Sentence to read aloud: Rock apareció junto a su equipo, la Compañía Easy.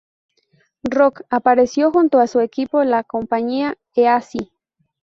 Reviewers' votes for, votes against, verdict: 2, 2, rejected